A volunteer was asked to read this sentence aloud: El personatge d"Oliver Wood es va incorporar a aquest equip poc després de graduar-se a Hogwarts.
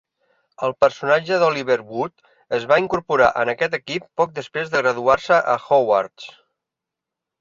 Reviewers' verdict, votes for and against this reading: rejected, 2, 4